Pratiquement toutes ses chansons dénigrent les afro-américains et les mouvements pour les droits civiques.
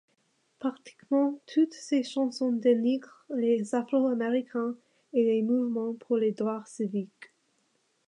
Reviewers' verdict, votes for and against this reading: accepted, 2, 0